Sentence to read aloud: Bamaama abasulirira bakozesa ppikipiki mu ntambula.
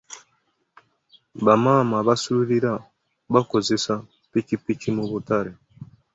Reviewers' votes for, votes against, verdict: 0, 2, rejected